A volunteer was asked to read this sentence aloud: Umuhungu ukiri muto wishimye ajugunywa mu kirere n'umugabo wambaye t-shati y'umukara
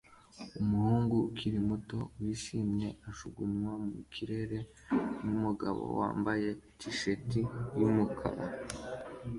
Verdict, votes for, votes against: accepted, 2, 0